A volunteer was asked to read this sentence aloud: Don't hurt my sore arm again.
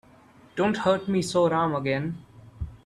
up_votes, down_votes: 0, 3